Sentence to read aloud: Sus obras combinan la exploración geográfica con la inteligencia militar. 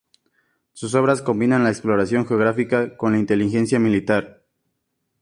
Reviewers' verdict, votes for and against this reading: accepted, 4, 0